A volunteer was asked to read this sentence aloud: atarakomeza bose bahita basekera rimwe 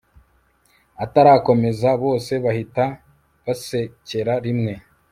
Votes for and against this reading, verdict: 3, 0, accepted